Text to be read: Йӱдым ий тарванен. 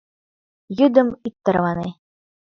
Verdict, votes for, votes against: rejected, 1, 2